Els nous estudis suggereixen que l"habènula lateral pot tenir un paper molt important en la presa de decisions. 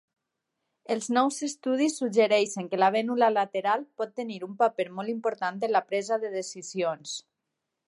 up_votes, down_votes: 2, 4